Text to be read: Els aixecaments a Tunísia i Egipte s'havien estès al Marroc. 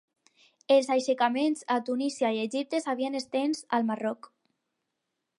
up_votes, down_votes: 2, 2